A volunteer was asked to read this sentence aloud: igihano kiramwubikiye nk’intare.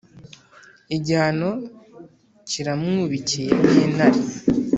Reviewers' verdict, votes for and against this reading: accepted, 2, 0